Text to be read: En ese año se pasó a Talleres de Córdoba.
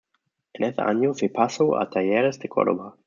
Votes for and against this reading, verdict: 1, 2, rejected